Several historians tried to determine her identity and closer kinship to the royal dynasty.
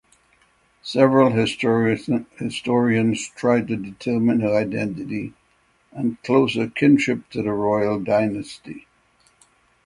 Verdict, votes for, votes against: rejected, 0, 6